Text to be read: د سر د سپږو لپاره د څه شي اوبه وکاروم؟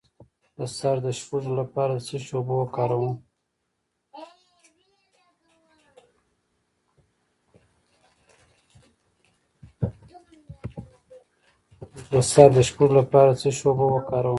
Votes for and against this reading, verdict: 0, 2, rejected